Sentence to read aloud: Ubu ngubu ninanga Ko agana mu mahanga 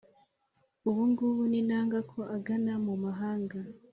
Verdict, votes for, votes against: accepted, 3, 0